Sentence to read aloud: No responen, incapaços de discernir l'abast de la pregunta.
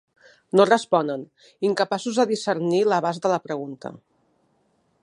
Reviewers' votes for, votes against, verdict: 3, 0, accepted